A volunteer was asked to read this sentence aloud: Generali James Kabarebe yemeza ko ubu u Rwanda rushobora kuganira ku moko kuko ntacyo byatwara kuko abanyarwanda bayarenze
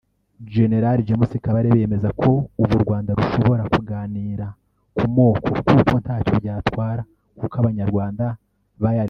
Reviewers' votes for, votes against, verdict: 1, 2, rejected